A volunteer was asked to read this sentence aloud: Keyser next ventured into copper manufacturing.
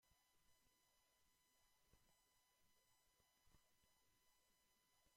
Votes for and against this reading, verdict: 0, 2, rejected